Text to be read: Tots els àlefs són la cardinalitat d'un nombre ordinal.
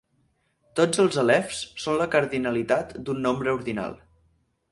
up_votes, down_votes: 4, 0